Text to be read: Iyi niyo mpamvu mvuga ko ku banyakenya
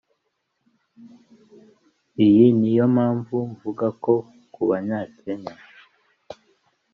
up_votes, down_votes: 2, 0